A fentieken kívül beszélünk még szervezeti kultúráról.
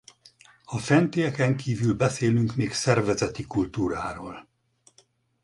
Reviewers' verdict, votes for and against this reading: accepted, 6, 0